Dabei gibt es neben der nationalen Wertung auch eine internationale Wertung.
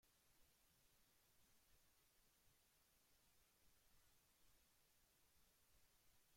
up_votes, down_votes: 0, 2